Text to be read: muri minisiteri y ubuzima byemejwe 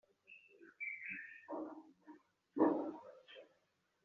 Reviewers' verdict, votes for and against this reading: rejected, 0, 2